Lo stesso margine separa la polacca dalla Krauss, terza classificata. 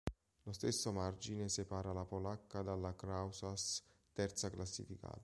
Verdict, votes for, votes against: rejected, 0, 2